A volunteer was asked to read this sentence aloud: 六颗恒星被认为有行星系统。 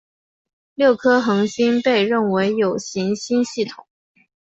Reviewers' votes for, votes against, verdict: 3, 0, accepted